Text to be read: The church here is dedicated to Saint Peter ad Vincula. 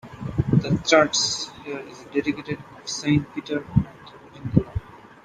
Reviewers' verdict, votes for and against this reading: rejected, 0, 2